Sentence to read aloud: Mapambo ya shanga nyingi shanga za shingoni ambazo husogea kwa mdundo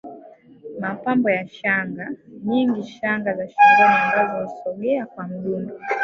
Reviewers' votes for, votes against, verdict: 1, 3, rejected